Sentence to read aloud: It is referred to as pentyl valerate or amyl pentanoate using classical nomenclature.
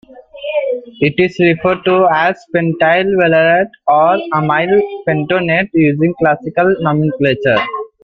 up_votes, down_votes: 0, 2